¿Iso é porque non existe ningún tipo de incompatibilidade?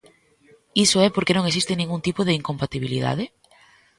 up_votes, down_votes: 2, 0